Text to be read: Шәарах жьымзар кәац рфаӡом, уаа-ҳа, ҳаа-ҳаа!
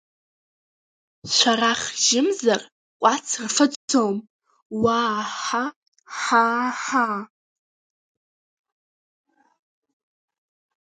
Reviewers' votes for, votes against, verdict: 0, 2, rejected